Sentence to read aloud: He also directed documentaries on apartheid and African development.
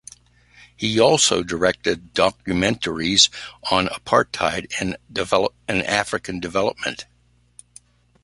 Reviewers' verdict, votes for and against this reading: rejected, 1, 2